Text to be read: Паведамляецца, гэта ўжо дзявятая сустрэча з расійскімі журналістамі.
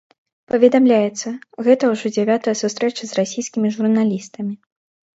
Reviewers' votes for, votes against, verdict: 2, 0, accepted